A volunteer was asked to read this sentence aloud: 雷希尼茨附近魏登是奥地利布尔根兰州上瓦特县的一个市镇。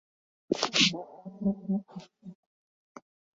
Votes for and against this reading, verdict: 0, 3, rejected